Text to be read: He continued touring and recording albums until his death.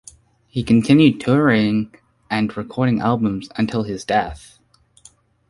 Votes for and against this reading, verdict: 2, 0, accepted